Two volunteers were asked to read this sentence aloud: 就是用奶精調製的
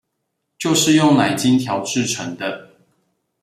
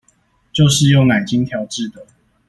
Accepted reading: second